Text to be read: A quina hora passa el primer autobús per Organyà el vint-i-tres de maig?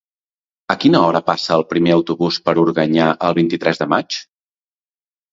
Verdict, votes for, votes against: accepted, 2, 0